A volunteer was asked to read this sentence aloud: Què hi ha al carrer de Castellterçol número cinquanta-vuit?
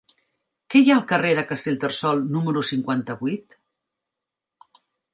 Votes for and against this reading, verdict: 4, 0, accepted